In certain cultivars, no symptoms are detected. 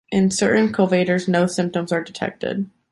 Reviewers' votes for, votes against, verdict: 0, 2, rejected